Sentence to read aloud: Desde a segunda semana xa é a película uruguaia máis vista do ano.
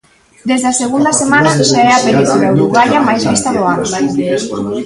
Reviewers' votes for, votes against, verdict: 0, 2, rejected